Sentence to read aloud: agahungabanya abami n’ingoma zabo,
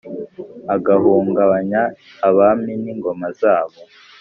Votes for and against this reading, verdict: 3, 0, accepted